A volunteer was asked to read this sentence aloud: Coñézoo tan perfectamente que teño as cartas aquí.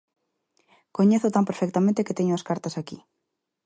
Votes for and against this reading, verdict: 2, 0, accepted